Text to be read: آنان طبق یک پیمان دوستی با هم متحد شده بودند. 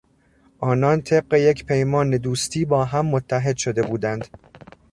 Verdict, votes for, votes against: accepted, 2, 0